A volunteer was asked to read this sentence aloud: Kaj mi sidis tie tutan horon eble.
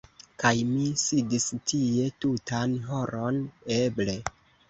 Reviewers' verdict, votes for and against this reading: accepted, 2, 0